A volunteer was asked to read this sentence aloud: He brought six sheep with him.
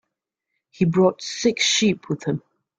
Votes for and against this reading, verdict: 2, 0, accepted